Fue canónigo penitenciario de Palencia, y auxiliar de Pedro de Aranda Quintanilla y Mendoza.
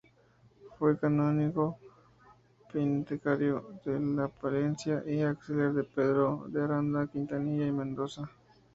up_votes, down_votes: 0, 2